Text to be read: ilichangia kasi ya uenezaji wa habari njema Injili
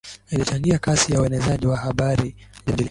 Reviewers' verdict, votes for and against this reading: rejected, 0, 2